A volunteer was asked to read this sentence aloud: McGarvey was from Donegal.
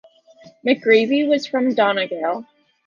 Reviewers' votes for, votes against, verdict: 1, 2, rejected